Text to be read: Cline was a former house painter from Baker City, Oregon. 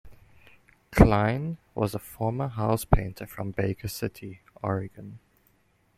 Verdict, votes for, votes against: accepted, 2, 0